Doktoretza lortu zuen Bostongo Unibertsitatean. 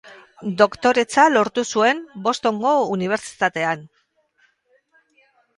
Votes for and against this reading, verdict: 2, 2, rejected